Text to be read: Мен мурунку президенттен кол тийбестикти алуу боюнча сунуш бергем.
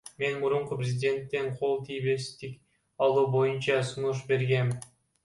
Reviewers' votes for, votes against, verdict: 0, 2, rejected